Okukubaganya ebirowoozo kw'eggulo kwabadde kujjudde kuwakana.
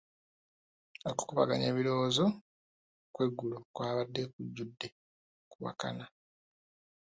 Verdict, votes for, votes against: rejected, 0, 2